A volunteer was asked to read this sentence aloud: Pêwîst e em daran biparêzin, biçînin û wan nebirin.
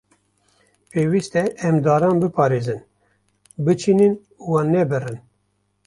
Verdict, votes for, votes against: rejected, 0, 2